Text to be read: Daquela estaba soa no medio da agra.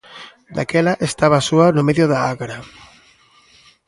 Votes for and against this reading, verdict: 2, 0, accepted